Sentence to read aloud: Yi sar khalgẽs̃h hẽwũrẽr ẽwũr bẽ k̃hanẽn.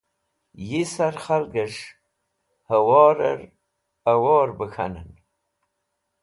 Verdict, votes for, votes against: rejected, 0, 2